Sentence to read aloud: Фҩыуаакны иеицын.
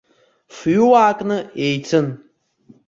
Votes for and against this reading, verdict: 2, 0, accepted